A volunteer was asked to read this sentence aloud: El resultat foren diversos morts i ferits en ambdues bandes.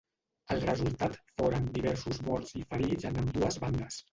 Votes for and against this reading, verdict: 0, 2, rejected